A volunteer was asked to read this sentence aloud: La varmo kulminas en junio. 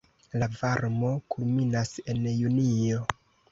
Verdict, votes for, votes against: rejected, 1, 2